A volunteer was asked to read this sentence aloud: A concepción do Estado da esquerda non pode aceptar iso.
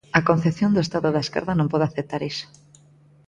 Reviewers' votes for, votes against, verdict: 2, 0, accepted